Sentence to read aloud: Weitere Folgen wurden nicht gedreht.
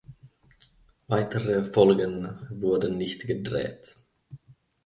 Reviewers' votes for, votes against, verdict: 2, 1, accepted